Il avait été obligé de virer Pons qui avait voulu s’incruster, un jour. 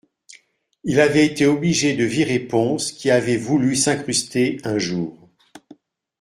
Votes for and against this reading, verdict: 2, 0, accepted